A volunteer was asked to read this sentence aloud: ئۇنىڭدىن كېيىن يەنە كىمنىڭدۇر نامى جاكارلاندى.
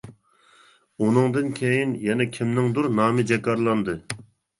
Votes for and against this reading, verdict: 2, 0, accepted